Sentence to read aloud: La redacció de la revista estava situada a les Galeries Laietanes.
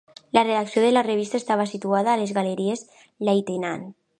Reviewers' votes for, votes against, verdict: 1, 2, rejected